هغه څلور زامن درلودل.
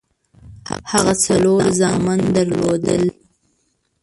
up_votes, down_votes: 1, 2